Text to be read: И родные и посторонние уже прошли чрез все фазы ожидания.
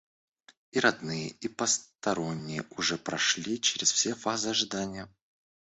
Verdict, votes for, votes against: accepted, 2, 1